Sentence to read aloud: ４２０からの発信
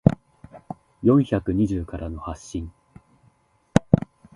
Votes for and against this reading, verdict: 0, 2, rejected